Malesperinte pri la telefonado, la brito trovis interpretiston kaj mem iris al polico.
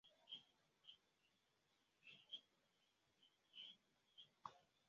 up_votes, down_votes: 1, 2